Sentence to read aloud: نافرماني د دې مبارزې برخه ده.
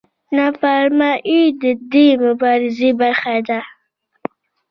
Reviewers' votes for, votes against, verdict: 2, 0, accepted